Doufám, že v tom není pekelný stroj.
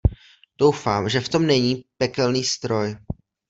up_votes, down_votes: 2, 0